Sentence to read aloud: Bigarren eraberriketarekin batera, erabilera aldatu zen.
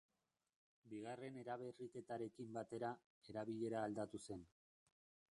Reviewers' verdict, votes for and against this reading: rejected, 1, 2